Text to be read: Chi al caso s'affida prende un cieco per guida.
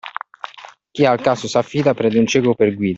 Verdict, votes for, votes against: accepted, 2, 0